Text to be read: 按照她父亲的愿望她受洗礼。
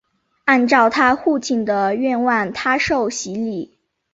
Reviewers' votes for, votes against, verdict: 6, 0, accepted